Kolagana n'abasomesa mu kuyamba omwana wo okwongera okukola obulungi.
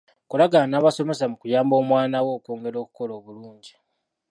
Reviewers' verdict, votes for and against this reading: accepted, 2, 0